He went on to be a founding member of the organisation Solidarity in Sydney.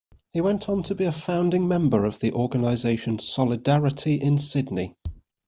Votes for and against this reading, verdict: 2, 0, accepted